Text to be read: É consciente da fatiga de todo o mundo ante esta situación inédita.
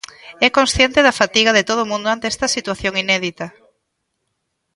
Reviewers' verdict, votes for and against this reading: accepted, 2, 1